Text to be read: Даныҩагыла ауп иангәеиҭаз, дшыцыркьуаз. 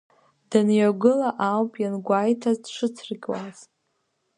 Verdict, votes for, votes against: rejected, 0, 2